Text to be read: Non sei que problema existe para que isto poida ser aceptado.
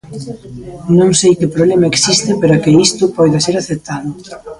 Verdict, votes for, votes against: rejected, 1, 2